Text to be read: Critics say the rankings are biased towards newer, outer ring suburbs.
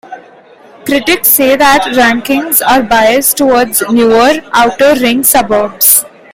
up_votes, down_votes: 1, 2